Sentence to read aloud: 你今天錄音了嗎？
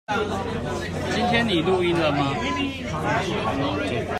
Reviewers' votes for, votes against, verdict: 1, 2, rejected